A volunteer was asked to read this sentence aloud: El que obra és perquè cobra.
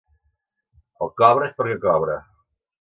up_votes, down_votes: 0, 2